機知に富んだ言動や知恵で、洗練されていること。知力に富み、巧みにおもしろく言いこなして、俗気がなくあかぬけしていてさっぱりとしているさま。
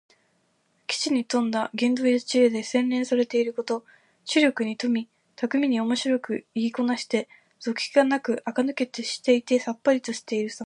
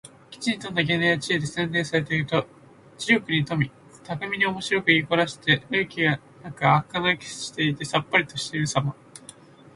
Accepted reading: first